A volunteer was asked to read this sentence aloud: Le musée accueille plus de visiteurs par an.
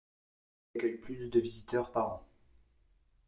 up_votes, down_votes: 0, 2